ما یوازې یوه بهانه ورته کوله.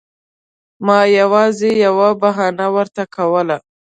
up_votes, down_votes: 2, 0